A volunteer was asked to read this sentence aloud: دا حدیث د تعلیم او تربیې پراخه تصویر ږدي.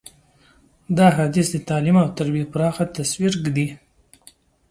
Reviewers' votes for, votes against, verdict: 3, 0, accepted